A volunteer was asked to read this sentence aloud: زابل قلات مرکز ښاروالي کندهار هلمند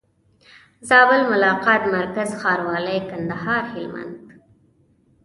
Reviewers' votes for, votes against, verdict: 1, 2, rejected